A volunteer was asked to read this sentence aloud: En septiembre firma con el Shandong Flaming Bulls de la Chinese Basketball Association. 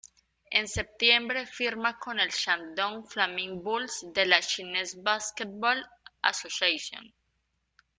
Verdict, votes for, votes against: rejected, 1, 2